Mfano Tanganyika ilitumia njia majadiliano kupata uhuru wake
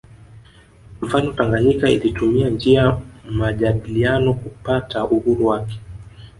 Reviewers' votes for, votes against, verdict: 1, 2, rejected